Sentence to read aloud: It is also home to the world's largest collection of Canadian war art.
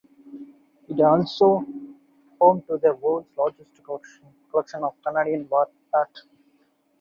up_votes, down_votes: 2, 2